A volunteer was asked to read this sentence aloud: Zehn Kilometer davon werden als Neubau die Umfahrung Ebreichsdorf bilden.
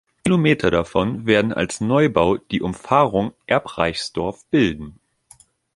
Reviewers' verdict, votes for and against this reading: rejected, 0, 2